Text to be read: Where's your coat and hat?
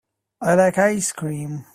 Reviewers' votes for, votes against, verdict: 0, 2, rejected